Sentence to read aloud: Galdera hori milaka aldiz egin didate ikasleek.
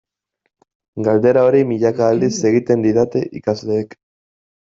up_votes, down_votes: 1, 2